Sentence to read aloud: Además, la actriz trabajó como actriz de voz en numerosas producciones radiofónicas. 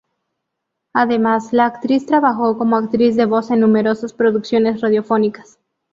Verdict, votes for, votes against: accepted, 2, 0